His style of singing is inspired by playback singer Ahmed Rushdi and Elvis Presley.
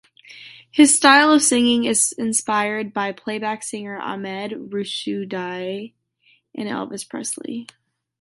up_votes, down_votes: 0, 2